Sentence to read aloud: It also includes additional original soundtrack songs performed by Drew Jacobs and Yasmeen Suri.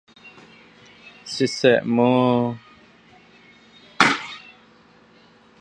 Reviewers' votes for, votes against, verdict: 0, 2, rejected